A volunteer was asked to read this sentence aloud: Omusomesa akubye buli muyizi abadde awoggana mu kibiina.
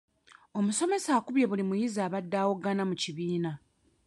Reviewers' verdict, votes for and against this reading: rejected, 0, 2